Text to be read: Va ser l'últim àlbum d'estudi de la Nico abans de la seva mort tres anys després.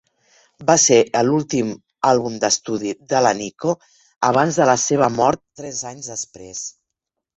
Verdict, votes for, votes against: rejected, 1, 2